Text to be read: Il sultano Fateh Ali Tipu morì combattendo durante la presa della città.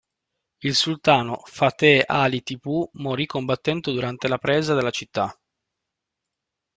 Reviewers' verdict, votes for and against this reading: rejected, 1, 2